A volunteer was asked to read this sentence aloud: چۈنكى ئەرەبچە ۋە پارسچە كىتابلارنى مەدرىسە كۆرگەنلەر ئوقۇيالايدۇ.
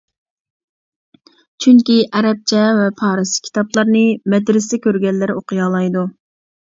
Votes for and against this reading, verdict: 0, 2, rejected